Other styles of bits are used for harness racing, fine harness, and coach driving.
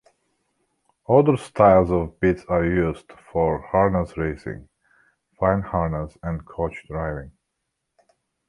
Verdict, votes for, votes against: accepted, 2, 1